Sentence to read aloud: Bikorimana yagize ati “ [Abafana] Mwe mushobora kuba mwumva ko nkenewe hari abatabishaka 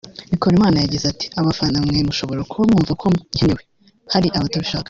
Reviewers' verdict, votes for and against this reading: rejected, 0, 2